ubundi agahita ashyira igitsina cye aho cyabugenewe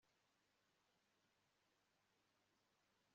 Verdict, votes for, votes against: rejected, 1, 2